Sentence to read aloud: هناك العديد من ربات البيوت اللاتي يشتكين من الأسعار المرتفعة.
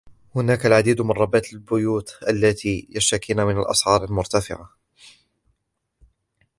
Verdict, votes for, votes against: accepted, 2, 1